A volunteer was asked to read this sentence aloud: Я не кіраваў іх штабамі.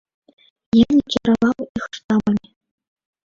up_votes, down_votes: 1, 3